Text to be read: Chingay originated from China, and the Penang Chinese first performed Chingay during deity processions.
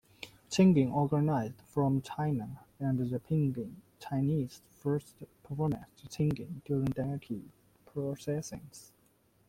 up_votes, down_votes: 1, 2